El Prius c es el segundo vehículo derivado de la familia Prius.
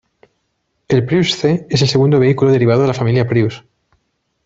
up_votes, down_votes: 2, 0